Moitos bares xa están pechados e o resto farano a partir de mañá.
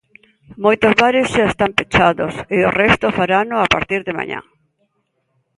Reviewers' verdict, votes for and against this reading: accepted, 2, 0